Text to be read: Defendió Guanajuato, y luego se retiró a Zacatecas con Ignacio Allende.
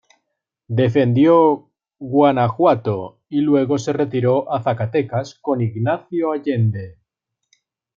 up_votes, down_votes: 2, 0